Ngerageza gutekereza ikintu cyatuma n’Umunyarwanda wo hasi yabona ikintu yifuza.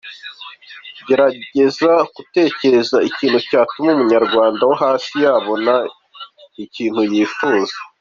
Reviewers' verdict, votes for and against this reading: accepted, 2, 0